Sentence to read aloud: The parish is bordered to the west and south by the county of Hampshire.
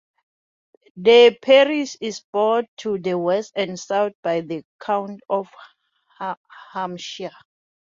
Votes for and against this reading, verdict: 0, 2, rejected